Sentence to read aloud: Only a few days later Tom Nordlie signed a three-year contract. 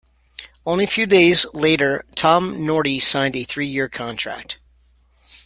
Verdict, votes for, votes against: rejected, 0, 2